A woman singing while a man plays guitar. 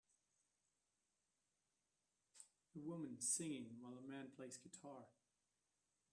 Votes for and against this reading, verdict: 0, 2, rejected